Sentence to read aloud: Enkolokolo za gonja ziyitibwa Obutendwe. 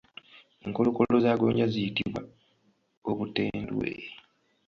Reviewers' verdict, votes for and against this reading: rejected, 1, 2